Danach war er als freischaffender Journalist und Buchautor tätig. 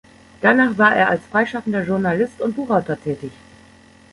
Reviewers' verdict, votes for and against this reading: accepted, 2, 0